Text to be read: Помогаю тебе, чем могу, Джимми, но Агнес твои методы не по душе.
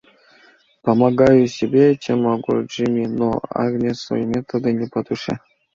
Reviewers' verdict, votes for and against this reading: rejected, 1, 2